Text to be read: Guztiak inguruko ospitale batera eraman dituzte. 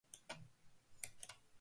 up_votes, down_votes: 0, 2